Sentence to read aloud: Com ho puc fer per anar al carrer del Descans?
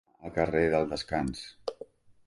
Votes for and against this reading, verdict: 1, 2, rejected